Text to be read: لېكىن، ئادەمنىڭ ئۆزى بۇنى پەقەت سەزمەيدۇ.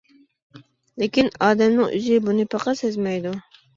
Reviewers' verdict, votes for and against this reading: accepted, 2, 0